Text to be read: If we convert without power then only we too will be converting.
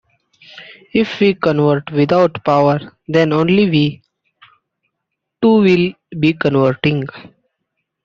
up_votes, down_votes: 2, 1